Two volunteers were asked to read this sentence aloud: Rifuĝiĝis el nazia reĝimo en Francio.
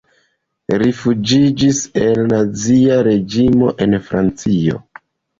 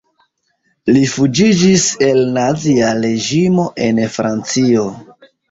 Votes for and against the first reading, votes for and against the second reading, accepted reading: 2, 1, 0, 3, first